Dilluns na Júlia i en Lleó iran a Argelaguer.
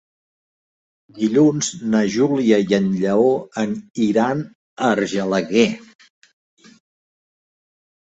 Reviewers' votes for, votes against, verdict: 1, 2, rejected